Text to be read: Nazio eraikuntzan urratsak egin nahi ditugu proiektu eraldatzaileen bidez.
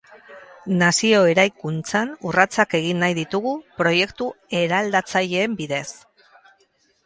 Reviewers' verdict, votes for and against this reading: accepted, 2, 0